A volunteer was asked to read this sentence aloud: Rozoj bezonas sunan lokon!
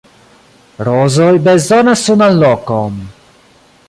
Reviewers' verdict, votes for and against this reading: accepted, 4, 1